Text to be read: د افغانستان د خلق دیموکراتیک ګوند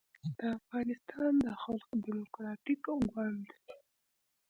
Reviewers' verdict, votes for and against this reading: rejected, 1, 2